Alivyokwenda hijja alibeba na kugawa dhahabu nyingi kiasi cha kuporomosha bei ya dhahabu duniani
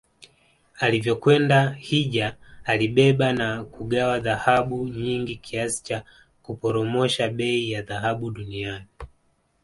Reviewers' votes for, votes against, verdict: 2, 1, accepted